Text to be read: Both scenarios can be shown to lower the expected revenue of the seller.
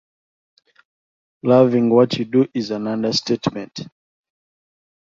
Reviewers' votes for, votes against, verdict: 0, 2, rejected